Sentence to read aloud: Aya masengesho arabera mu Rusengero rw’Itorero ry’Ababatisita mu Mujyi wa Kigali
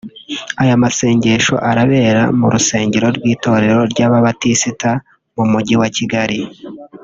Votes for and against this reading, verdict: 1, 2, rejected